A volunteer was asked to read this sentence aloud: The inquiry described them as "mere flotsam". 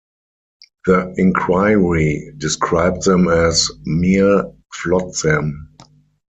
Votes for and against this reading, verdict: 4, 0, accepted